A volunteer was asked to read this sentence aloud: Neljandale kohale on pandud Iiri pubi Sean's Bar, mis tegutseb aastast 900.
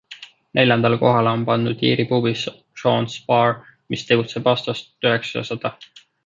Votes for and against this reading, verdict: 0, 2, rejected